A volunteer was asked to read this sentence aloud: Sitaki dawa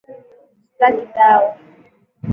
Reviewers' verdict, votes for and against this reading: accepted, 3, 0